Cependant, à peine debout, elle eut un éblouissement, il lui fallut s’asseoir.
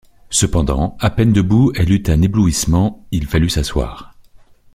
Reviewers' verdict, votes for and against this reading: rejected, 0, 2